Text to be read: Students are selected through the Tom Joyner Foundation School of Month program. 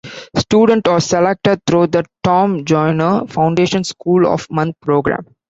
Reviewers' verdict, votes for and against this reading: rejected, 0, 2